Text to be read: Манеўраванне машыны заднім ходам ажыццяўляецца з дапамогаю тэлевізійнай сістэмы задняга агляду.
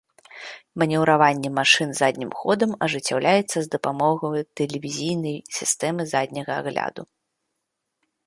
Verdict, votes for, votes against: rejected, 1, 2